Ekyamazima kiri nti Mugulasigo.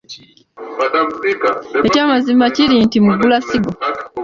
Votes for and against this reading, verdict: 3, 1, accepted